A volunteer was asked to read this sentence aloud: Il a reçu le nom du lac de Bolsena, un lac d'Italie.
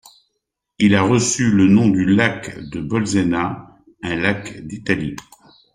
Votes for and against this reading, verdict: 2, 0, accepted